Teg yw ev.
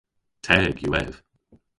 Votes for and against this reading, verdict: 1, 2, rejected